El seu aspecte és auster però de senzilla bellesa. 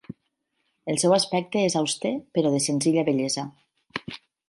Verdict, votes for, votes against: accepted, 4, 0